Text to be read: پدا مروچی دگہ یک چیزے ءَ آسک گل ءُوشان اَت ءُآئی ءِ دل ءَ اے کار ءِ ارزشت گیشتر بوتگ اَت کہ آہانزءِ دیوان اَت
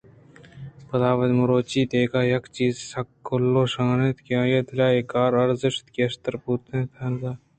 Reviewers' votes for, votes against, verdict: 2, 0, accepted